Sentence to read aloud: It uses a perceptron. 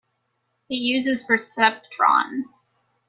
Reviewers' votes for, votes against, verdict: 2, 1, accepted